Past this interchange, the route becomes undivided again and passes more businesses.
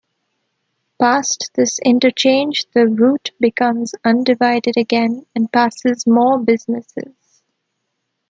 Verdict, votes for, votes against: accepted, 2, 0